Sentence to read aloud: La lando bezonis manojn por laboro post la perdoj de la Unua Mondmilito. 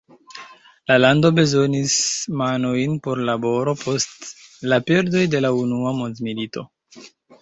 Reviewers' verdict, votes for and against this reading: accepted, 3, 1